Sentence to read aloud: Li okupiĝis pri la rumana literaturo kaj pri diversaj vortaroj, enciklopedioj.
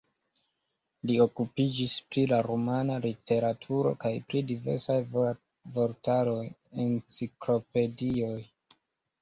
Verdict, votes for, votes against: rejected, 1, 2